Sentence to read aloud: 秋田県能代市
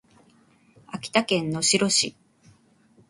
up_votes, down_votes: 2, 0